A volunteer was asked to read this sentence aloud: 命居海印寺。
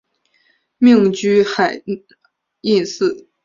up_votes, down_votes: 1, 2